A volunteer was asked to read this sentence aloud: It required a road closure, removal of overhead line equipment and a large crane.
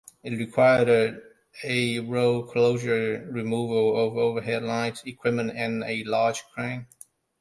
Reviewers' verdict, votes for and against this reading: rejected, 1, 2